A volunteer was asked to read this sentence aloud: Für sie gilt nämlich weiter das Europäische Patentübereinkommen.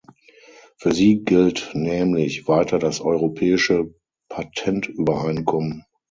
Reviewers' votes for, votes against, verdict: 3, 6, rejected